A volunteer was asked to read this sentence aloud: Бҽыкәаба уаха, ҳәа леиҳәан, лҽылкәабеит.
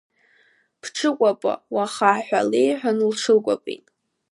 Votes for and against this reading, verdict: 2, 0, accepted